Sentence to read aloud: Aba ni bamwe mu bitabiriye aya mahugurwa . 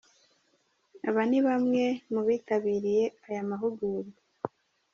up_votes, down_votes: 2, 0